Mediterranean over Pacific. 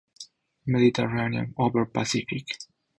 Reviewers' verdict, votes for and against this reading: accepted, 4, 2